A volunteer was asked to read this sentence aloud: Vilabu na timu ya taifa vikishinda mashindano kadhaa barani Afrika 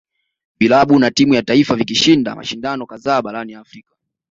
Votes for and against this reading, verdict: 2, 0, accepted